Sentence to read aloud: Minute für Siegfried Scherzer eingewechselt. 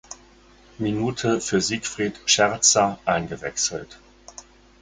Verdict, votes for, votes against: accepted, 4, 0